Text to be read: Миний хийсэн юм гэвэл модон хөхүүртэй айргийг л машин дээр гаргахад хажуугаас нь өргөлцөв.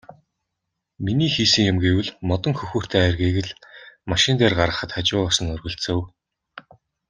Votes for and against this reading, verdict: 2, 0, accepted